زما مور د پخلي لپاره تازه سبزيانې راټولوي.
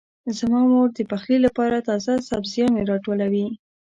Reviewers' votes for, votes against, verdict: 2, 0, accepted